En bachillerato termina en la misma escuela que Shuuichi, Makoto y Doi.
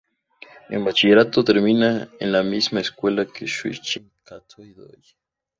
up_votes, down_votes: 2, 2